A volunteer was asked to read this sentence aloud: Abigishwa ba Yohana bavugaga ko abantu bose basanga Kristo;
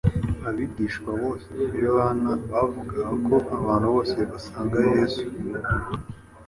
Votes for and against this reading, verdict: 2, 0, accepted